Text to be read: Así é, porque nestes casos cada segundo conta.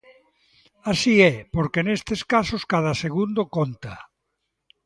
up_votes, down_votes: 2, 0